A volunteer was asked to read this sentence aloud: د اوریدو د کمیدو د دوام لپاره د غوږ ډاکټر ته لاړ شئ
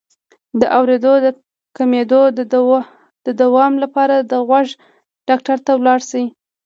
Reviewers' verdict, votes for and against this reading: rejected, 1, 2